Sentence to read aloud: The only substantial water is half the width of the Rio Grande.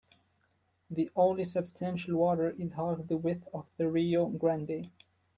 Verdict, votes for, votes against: accepted, 2, 0